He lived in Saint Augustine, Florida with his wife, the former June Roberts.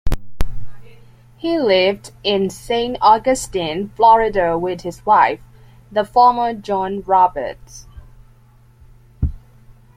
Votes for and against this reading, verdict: 2, 1, accepted